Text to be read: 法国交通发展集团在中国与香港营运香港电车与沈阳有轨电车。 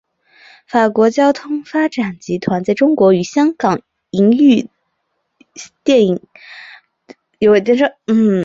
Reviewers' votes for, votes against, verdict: 1, 3, rejected